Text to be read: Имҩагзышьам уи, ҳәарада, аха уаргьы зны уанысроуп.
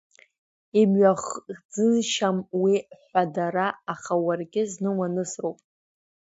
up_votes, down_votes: 0, 2